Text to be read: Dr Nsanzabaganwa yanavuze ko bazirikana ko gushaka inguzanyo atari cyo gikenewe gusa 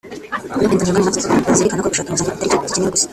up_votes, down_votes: 0, 2